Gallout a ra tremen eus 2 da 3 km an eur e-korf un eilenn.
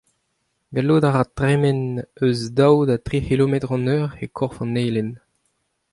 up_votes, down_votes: 0, 2